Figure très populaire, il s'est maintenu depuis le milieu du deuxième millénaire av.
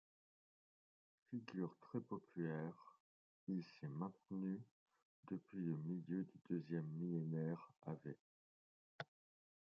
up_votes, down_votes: 1, 2